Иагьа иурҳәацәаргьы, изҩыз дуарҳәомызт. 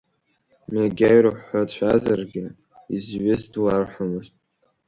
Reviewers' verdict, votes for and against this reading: rejected, 0, 2